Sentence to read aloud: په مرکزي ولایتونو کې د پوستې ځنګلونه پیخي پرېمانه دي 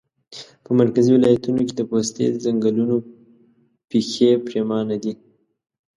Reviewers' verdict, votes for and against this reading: rejected, 1, 2